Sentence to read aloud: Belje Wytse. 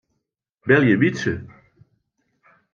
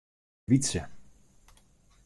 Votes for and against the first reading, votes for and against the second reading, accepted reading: 3, 0, 0, 2, first